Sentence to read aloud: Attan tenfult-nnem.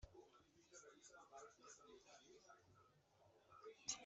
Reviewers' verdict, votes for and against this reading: rejected, 1, 2